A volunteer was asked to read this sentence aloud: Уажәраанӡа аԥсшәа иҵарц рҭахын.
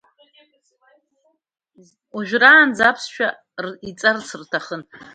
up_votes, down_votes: 0, 2